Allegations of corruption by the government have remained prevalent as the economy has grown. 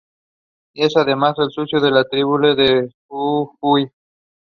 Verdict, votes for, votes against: rejected, 1, 2